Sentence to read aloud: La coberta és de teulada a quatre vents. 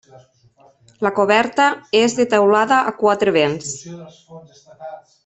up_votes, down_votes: 1, 2